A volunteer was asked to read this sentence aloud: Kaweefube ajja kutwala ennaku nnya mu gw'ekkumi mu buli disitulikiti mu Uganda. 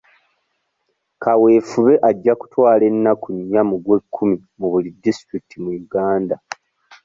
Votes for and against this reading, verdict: 2, 0, accepted